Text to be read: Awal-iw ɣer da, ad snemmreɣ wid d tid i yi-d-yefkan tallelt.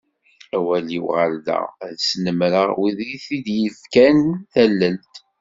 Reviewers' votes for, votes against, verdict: 2, 0, accepted